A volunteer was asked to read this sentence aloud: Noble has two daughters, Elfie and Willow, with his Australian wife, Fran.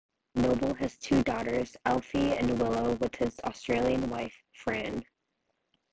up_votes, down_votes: 1, 2